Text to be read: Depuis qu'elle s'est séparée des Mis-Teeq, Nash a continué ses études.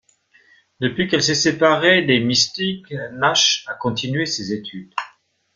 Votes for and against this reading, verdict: 2, 1, accepted